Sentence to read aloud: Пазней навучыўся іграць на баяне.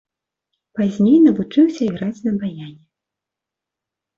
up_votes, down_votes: 2, 0